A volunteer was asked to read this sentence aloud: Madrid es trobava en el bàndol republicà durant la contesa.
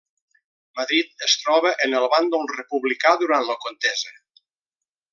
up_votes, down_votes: 0, 2